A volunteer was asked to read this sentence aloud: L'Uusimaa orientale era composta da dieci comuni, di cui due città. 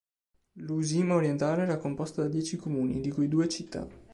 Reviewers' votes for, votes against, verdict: 2, 0, accepted